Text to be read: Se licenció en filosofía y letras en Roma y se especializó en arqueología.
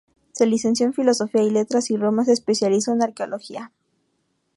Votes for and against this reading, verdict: 0, 2, rejected